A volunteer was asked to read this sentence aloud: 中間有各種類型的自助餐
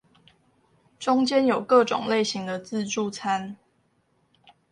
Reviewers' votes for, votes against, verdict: 2, 0, accepted